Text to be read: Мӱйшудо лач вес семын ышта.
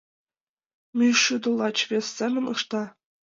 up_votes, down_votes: 2, 0